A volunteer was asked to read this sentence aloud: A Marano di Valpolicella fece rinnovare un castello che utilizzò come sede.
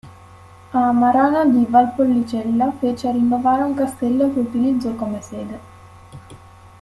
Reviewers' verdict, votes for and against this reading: rejected, 1, 2